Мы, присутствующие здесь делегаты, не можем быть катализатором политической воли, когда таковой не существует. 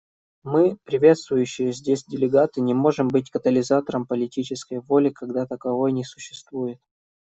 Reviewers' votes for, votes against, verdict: 1, 2, rejected